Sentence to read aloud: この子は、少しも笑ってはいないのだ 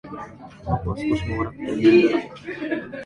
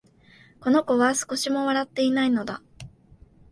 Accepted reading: second